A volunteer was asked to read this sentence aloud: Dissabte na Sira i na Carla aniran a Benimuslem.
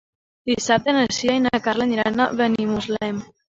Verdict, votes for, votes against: accepted, 2, 0